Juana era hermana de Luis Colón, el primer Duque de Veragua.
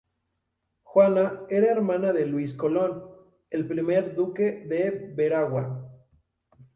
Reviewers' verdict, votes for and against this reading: accepted, 4, 0